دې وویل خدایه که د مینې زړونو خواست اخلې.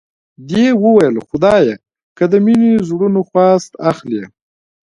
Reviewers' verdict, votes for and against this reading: accepted, 2, 0